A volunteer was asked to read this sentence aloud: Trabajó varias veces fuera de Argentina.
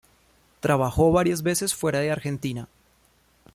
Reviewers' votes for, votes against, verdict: 2, 0, accepted